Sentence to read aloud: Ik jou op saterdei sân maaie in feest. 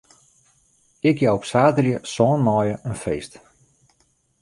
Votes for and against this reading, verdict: 2, 0, accepted